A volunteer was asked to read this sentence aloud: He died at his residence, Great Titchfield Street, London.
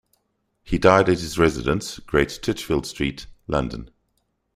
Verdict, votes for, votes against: accepted, 2, 0